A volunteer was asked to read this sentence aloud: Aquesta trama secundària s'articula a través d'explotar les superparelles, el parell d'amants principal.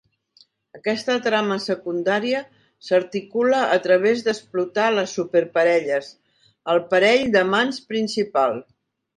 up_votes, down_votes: 2, 1